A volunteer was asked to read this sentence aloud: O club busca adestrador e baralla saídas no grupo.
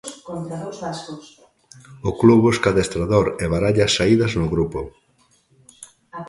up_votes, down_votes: 0, 2